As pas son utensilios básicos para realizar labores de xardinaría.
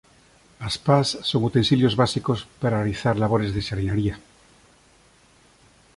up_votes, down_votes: 2, 0